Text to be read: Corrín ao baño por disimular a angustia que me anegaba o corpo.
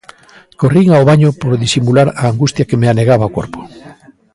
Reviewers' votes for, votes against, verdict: 2, 0, accepted